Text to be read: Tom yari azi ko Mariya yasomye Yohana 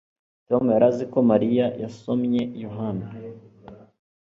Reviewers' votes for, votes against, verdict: 2, 0, accepted